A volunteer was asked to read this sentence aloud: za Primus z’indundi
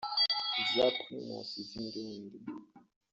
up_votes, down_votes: 0, 2